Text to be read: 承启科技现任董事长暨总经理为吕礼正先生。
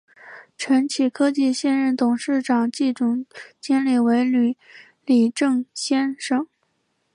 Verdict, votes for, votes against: accepted, 4, 0